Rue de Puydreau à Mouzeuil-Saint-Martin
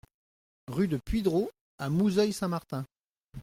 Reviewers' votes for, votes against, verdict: 2, 0, accepted